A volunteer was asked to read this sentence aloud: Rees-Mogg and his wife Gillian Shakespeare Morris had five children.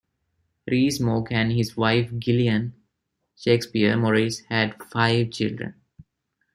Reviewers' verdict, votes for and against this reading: rejected, 1, 2